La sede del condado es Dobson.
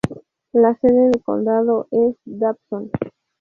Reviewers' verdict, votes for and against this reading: rejected, 2, 2